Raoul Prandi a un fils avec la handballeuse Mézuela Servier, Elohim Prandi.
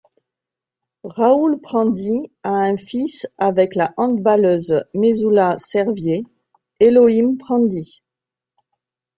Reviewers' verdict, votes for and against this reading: rejected, 1, 2